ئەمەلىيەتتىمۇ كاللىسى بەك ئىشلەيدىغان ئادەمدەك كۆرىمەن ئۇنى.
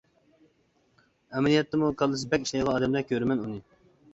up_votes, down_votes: 2, 0